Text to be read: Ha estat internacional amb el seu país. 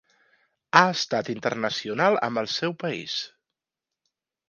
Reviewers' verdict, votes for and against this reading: accepted, 2, 0